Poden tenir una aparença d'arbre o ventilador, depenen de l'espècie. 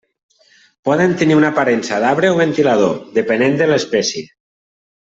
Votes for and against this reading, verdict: 1, 2, rejected